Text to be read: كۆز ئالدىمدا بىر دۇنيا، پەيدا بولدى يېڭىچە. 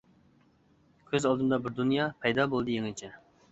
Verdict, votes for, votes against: accepted, 2, 0